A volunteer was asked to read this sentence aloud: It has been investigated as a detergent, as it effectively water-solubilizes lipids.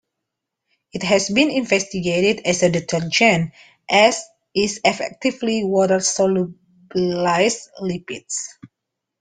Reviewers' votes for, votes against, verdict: 0, 2, rejected